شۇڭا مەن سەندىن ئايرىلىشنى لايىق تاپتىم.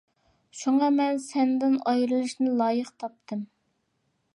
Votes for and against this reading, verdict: 2, 0, accepted